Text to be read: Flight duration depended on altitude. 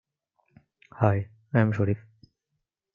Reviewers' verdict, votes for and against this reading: rejected, 0, 2